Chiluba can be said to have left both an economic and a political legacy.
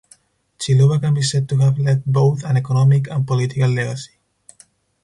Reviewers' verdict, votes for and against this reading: rejected, 0, 4